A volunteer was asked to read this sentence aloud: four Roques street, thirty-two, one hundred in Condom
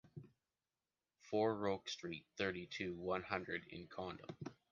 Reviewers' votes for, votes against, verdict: 3, 0, accepted